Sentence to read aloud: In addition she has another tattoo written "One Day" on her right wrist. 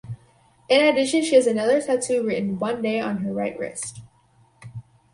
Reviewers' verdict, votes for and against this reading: accepted, 4, 0